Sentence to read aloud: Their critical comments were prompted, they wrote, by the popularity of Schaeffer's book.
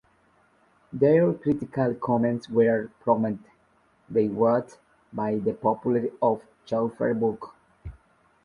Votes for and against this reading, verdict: 0, 2, rejected